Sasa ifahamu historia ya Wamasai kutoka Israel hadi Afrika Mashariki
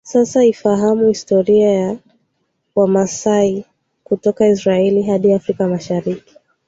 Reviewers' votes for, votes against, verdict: 2, 0, accepted